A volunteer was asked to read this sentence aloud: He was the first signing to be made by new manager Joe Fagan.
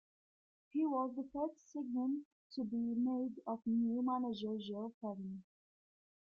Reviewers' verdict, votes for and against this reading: rejected, 0, 2